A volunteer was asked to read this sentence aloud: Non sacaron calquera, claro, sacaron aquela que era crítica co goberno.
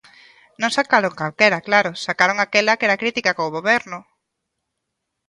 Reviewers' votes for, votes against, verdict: 2, 0, accepted